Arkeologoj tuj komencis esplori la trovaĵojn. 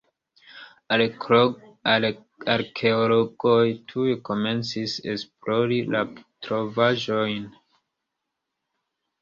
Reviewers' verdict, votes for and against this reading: accepted, 2, 1